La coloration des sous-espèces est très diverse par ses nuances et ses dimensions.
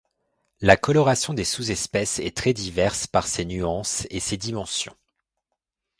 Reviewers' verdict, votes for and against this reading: accepted, 2, 0